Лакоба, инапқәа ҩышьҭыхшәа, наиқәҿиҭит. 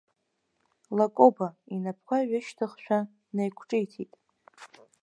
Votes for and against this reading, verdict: 6, 1, accepted